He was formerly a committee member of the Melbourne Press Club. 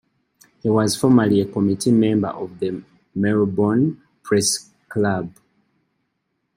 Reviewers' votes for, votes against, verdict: 2, 0, accepted